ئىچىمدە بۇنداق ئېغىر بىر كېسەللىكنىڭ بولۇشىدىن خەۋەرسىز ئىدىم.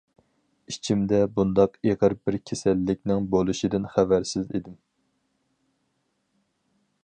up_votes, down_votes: 4, 0